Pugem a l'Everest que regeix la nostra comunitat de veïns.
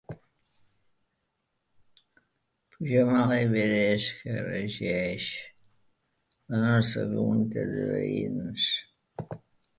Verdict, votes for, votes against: rejected, 0, 2